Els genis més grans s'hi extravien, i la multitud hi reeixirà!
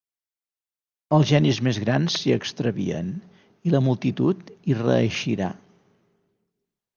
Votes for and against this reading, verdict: 3, 0, accepted